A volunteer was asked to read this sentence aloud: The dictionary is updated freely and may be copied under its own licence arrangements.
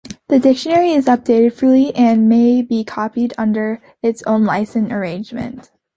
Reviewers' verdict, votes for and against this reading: rejected, 1, 2